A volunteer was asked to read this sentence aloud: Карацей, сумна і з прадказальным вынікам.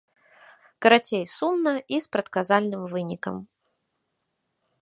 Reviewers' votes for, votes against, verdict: 2, 0, accepted